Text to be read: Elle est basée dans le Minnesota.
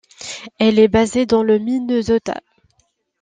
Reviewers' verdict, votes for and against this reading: rejected, 1, 2